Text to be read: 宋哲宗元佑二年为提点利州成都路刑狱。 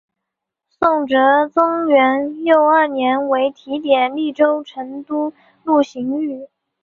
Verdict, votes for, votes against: accepted, 2, 0